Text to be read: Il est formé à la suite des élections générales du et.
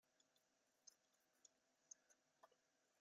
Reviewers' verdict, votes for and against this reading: rejected, 0, 2